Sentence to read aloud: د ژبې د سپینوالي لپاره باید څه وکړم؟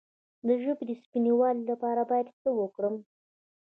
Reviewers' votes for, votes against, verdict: 2, 0, accepted